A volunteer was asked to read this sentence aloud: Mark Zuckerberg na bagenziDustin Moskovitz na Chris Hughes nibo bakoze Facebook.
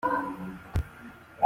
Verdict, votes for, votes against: rejected, 0, 2